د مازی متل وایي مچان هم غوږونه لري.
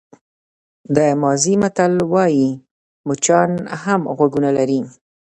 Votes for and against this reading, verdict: 0, 2, rejected